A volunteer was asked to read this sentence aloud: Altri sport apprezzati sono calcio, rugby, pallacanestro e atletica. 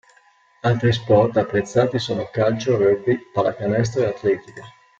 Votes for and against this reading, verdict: 2, 0, accepted